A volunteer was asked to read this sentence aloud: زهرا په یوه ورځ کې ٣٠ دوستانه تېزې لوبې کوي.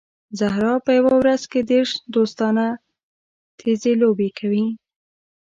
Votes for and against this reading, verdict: 0, 2, rejected